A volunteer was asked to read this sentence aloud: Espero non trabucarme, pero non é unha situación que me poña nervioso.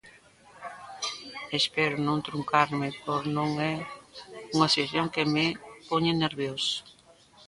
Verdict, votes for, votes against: rejected, 0, 2